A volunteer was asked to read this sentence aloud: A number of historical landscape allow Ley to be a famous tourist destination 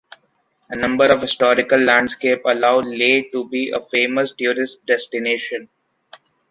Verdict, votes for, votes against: accepted, 2, 1